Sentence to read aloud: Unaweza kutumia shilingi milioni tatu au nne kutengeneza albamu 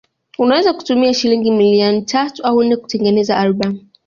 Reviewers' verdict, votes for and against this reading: accepted, 2, 0